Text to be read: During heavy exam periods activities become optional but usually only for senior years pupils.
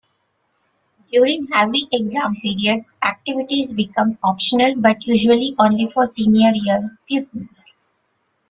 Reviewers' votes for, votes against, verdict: 0, 2, rejected